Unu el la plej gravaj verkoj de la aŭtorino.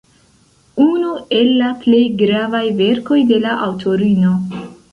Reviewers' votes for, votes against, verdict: 0, 2, rejected